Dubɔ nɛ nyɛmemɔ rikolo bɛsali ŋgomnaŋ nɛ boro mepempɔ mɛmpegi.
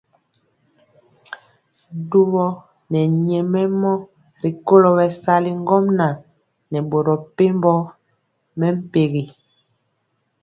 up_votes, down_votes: 2, 0